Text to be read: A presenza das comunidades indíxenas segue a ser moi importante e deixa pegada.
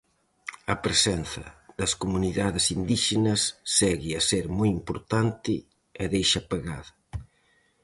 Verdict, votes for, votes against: accepted, 4, 0